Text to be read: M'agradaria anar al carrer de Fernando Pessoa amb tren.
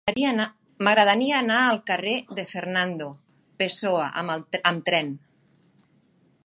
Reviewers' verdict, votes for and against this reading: rejected, 0, 2